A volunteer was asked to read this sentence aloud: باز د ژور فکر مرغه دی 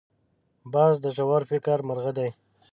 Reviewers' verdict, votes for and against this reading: accepted, 2, 0